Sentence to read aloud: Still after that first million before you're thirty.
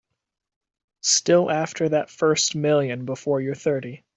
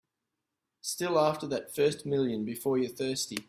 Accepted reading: first